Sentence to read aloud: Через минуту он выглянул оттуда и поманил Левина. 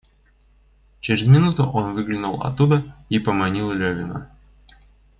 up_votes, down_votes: 1, 2